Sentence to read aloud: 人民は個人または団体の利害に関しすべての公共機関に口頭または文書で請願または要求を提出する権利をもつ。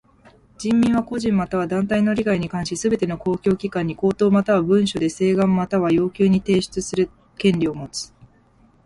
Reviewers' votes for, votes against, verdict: 2, 0, accepted